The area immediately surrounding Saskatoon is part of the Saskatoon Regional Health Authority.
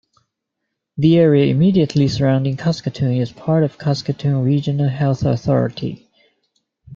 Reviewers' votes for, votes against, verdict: 2, 0, accepted